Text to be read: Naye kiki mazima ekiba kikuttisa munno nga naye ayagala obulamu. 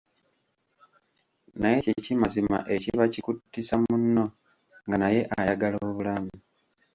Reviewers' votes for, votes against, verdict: 1, 2, rejected